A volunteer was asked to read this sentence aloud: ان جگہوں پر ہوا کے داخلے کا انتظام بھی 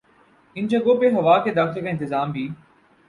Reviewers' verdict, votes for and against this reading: accepted, 2, 0